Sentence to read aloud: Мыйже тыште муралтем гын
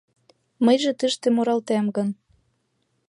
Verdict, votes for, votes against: accepted, 2, 0